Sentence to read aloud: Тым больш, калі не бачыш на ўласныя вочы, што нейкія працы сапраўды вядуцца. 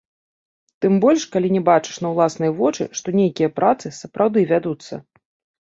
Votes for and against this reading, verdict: 1, 2, rejected